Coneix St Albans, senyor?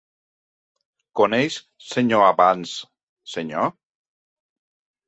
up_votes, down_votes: 0, 2